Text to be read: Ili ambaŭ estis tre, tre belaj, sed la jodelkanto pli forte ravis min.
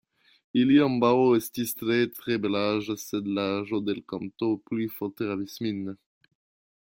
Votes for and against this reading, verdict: 0, 2, rejected